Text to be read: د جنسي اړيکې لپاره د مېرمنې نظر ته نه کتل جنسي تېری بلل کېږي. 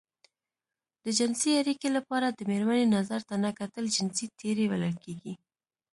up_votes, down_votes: 2, 1